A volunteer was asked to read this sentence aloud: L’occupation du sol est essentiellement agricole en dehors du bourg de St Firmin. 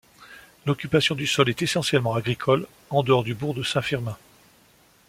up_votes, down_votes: 2, 0